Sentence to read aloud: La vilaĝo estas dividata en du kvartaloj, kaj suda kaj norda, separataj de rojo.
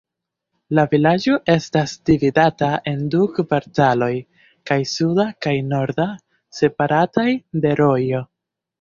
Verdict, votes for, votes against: accepted, 2, 0